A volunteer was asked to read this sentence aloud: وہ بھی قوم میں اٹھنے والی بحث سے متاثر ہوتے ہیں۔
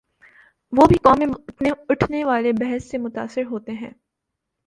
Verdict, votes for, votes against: accepted, 2, 0